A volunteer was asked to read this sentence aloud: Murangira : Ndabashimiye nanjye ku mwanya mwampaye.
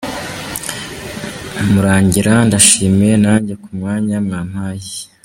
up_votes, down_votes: 1, 2